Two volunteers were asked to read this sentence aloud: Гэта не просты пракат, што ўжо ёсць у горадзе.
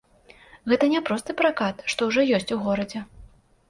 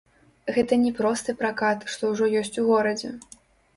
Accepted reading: first